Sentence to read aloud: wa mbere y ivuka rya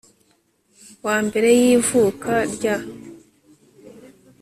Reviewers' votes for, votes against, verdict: 4, 0, accepted